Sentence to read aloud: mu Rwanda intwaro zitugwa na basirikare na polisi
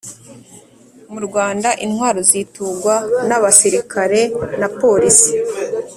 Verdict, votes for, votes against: accepted, 2, 0